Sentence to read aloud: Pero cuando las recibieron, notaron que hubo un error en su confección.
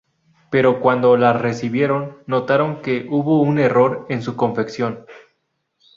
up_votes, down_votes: 2, 0